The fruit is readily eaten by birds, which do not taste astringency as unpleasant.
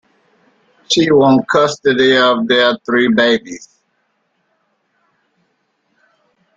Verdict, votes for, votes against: rejected, 0, 2